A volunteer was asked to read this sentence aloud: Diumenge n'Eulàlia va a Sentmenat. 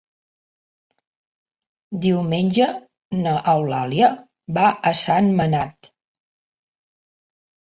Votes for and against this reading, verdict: 0, 2, rejected